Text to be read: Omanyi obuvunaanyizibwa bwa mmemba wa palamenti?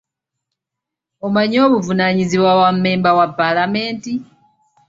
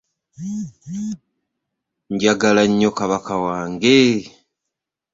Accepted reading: first